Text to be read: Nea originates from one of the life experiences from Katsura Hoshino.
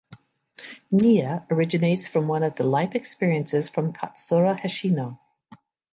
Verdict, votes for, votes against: accepted, 2, 0